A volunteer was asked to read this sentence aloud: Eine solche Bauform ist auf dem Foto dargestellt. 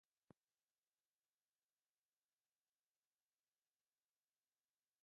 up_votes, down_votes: 0, 2